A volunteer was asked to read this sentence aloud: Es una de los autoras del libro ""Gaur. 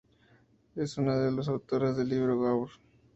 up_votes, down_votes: 2, 0